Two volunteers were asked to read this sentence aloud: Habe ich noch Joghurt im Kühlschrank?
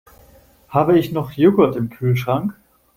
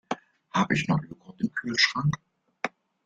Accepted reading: first